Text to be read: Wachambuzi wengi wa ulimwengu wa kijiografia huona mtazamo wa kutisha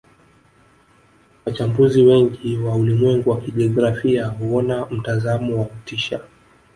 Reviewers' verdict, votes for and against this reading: rejected, 1, 2